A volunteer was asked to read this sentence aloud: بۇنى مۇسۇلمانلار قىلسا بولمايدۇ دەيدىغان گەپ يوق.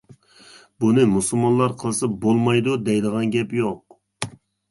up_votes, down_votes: 2, 0